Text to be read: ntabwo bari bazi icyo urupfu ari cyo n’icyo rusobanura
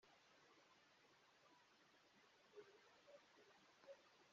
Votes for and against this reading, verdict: 1, 2, rejected